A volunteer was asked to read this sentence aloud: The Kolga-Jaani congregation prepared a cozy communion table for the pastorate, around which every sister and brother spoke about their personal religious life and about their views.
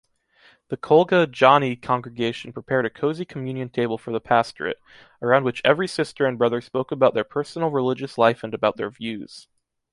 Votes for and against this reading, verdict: 2, 0, accepted